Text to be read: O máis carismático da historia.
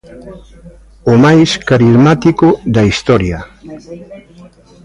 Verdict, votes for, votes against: rejected, 1, 2